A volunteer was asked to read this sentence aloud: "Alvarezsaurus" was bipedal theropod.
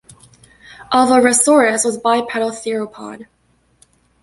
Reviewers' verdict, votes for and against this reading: accepted, 2, 0